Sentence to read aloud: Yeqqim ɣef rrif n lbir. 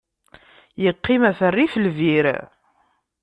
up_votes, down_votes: 2, 0